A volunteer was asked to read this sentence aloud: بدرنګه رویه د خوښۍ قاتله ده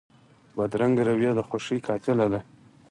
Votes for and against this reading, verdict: 2, 4, rejected